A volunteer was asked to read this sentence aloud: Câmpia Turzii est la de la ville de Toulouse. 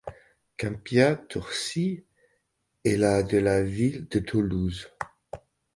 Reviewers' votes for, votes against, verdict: 2, 0, accepted